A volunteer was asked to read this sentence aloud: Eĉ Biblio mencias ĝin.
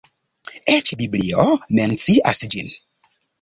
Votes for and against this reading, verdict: 1, 2, rejected